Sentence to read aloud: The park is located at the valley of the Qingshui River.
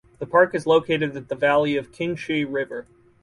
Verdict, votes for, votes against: accepted, 4, 0